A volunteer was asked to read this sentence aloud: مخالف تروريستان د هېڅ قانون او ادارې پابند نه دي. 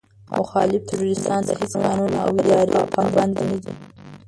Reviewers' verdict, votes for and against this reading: rejected, 0, 2